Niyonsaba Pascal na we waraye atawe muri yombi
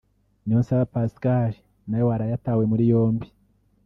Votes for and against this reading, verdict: 2, 0, accepted